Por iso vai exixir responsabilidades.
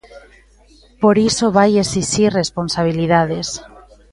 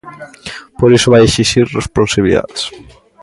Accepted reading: first